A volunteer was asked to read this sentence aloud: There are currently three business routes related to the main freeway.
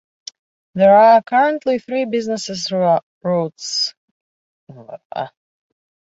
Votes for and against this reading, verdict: 0, 3, rejected